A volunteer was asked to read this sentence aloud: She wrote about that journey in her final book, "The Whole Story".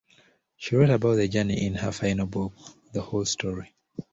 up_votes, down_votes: 1, 2